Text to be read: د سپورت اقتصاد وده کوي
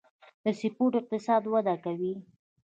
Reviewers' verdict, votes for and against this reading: rejected, 1, 2